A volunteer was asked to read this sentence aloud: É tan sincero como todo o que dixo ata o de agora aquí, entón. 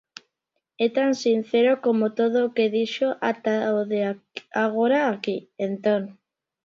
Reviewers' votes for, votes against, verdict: 1, 2, rejected